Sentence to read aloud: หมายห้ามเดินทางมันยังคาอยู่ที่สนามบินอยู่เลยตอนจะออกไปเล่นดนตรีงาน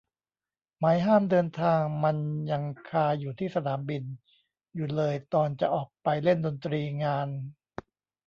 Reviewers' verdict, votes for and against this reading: rejected, 0, 2